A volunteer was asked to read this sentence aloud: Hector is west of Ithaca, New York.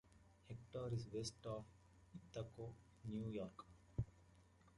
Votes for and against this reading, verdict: 0, 2, rejected